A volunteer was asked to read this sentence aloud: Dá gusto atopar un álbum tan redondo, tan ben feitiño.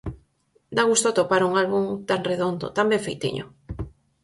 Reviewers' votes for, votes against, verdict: 4, 0, accepted